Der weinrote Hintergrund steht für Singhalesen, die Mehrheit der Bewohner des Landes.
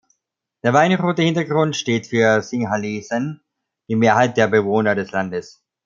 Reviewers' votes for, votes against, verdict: 2, 0, accepted